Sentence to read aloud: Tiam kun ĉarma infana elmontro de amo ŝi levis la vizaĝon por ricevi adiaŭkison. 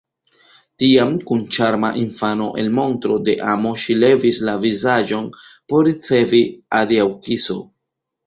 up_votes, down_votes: 0, 2